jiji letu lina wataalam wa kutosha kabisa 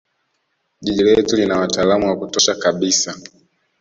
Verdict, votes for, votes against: accepted, 2, 0